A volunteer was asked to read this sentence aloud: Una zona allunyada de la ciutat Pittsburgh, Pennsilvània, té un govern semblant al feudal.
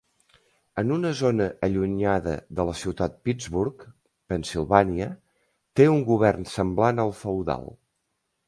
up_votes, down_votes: 0, 2